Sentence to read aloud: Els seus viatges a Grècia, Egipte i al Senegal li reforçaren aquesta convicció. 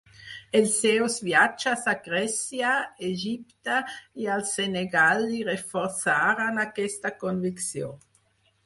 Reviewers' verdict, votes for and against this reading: accepted, 4, 0